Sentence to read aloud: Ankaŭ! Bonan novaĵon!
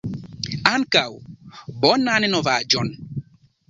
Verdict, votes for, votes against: accepted, 2, 0